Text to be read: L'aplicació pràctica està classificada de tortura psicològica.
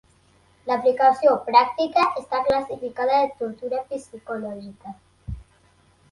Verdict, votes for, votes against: accepted, 3, 1